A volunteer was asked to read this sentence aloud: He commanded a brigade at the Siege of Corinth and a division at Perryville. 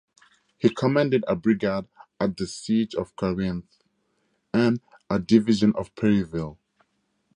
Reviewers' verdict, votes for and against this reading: accepted, 2, 0